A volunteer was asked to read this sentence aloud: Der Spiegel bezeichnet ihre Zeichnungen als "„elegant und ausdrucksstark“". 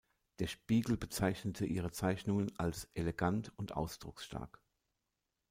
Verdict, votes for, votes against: rejected, 0, 2